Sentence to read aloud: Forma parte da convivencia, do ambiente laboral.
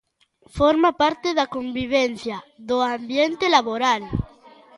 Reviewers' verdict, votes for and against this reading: accepted, 2, 0